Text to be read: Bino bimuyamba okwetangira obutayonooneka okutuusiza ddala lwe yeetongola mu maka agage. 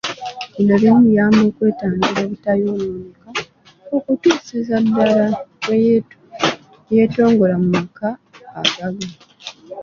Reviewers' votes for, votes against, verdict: 2, 1, accepted